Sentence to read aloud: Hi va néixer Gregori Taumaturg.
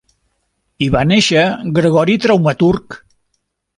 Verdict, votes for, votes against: rejected, 0, 2